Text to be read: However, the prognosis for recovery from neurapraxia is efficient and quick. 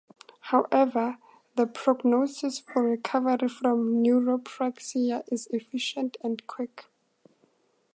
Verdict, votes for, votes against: accepted, 4, 0